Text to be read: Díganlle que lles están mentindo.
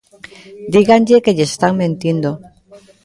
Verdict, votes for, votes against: rejected, 1, 2